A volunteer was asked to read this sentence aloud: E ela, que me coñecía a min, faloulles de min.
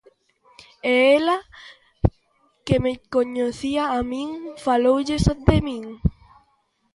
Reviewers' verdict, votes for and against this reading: rejected, 1, 2